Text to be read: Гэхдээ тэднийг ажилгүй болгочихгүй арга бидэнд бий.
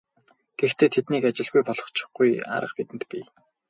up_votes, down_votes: 2, 2